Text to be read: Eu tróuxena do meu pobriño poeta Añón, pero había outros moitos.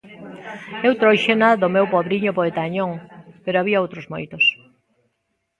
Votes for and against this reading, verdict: 2, 0, accepted